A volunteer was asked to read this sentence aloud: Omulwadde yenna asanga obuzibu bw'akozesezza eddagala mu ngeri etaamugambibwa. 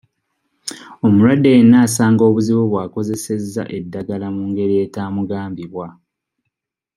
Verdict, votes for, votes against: accepted, 2, 0